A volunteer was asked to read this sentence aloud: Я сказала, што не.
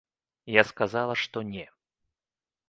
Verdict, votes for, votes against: accepted, 2, 0